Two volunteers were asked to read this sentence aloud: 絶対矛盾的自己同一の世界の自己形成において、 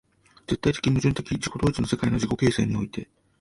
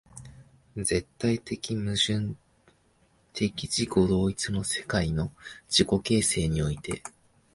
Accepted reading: second